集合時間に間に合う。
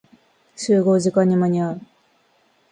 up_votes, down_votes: 2, 0